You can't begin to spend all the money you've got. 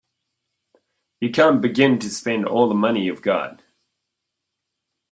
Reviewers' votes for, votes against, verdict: 2, 0, accepted